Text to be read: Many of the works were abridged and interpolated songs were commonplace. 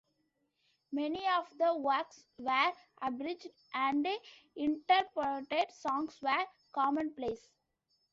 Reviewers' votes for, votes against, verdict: 1, 2, rejected